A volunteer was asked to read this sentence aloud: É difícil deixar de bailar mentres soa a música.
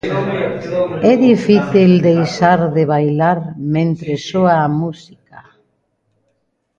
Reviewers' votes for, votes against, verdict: 0, 2, rejected